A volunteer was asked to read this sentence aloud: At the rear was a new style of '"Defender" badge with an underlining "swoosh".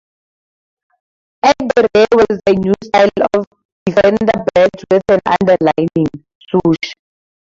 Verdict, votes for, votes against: rejected, 0, 2